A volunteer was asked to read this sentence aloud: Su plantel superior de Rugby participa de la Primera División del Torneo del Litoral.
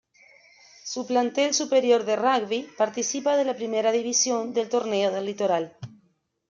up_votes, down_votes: 1, 2